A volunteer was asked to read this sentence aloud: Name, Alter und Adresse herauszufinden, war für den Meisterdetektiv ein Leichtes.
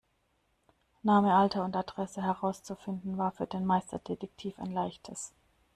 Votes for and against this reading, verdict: 2, 0, accepted